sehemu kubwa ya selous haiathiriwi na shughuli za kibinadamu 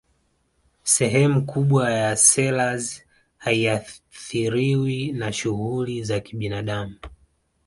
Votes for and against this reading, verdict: 2, 1, accepted